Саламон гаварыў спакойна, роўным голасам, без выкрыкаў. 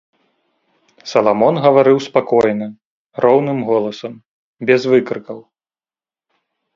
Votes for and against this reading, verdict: 0, 3, rejected